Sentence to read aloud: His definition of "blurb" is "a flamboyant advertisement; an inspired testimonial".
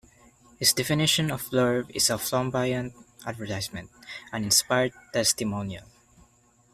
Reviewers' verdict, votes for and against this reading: rejected, 0, 2